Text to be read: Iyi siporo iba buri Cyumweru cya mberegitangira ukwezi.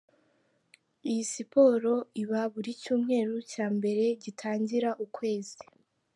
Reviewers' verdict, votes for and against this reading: accepted, 2, 0